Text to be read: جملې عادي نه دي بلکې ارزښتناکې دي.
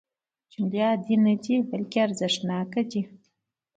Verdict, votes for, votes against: rejected, 1, 2